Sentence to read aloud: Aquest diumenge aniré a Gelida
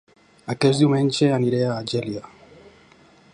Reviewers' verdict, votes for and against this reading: rejected, 0, 2